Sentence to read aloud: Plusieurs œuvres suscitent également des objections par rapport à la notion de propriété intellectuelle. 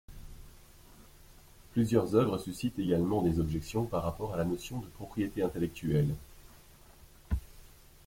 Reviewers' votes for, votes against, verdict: 2, 0, accepted